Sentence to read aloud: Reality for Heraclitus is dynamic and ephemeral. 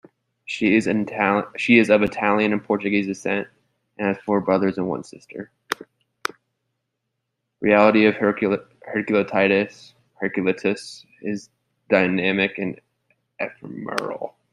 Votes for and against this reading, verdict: 0, 2, rejected